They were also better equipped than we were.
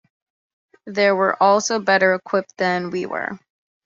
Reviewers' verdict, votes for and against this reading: accepted, 2, 0